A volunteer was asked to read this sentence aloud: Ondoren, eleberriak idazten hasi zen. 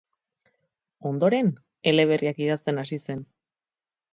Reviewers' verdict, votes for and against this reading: rejected, 2, 2